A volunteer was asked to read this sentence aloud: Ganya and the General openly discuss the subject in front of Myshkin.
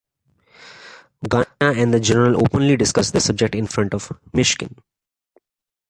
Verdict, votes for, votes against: rejected, 0, 2